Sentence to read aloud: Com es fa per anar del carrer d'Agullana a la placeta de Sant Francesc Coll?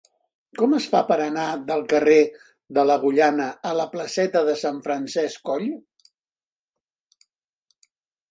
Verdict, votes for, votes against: rejected, 0, 4